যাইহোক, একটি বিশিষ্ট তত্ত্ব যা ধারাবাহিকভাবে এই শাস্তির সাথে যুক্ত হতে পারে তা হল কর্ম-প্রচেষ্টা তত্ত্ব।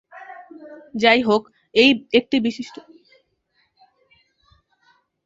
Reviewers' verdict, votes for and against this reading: rejected, 0, 2